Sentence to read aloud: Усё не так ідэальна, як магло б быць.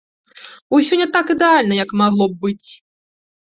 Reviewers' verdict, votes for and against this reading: accepted, 2, 0